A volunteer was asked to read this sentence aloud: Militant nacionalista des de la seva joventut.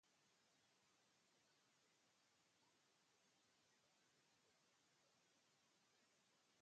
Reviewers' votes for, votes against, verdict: 0, 4, rejected